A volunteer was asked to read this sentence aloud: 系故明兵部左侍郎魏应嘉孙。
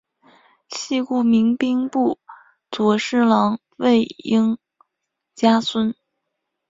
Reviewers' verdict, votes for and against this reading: rejected, 0, 3